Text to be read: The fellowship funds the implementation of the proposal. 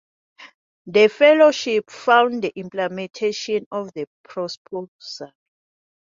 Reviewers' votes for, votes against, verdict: 0, 2, rejected